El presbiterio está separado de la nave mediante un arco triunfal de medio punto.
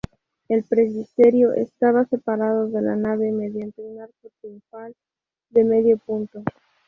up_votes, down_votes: 0, 2